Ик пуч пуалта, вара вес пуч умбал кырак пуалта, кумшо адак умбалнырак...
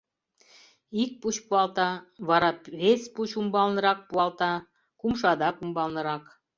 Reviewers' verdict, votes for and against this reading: rejected, 0, 2